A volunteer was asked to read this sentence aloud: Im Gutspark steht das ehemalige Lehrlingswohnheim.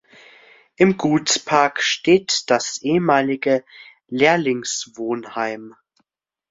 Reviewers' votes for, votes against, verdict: 2, 0, accepted